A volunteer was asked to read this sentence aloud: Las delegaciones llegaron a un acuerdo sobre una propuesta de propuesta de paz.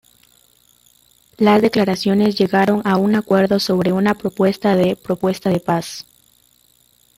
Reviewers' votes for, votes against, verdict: 0, 2, rejected